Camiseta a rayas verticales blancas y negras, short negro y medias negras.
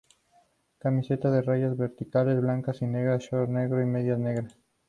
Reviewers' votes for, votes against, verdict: 4, 0, accepted